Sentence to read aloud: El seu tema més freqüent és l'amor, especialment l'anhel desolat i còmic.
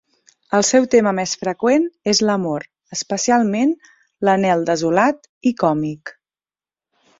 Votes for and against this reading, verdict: 2, 0, accepted